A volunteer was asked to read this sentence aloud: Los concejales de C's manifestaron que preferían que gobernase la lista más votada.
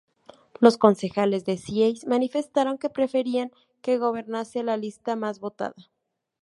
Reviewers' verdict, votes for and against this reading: rejected, 0, 2